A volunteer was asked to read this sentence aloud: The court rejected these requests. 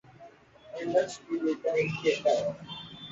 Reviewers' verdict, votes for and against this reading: rejected, 0, 2